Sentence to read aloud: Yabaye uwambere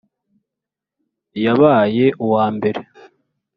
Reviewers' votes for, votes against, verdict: 3, 0, accepted